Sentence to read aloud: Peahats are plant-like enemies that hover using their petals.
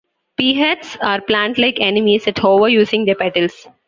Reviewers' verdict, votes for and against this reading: accepted, 2, 1